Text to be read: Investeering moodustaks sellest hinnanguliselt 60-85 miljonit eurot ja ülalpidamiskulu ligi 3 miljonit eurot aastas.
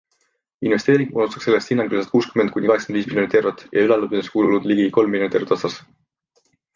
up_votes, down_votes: 0, 2